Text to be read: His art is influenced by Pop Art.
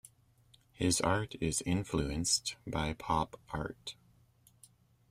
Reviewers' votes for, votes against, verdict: 2, 0, accepted